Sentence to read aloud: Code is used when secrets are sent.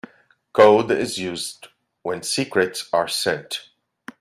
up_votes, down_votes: 2, 0